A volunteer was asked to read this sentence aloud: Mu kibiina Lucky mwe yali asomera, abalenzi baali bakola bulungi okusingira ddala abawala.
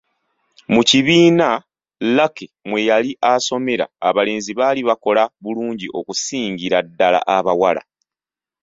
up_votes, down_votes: 2, 0